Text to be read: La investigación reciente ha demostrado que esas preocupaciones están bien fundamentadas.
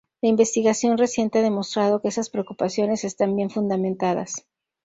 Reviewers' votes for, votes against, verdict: 2, 0, accepted